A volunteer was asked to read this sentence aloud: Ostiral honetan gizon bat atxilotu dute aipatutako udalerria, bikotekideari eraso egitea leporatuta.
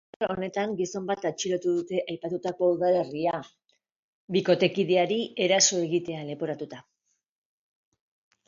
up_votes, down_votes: 0, 2